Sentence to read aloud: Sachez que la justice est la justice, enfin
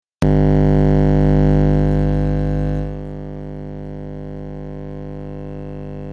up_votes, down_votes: 0, 2